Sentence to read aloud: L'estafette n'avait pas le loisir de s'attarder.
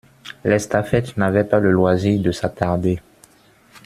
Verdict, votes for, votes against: rejected, 1, 2